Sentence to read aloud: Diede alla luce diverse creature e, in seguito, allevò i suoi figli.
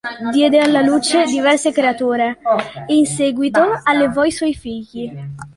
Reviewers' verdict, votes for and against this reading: rejected, 1, 2